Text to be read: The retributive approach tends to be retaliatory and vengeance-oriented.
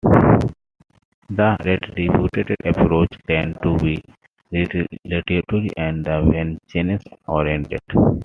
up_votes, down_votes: 0, 2